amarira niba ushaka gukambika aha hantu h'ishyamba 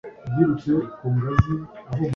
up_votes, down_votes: 0, 2